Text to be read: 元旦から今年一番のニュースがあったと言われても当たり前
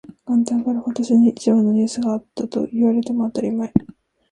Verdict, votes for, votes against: rejected, 1, 2